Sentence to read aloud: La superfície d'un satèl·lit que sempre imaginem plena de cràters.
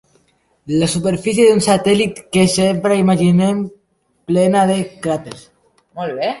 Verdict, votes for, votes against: rejected, 0, 2